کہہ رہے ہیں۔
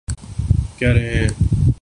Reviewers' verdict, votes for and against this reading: rejected, 0, 2